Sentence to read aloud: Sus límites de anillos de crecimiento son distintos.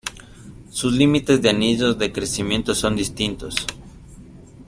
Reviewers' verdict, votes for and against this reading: accepted, 2, 0